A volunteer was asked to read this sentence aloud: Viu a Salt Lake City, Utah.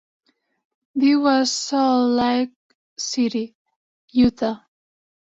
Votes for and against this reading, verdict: 1, 2, rejected